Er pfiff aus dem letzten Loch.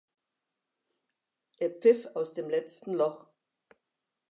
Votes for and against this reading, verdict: 2, 0, accepted